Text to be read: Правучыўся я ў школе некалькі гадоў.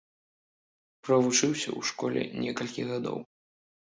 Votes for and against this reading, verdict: 0, 2, rejected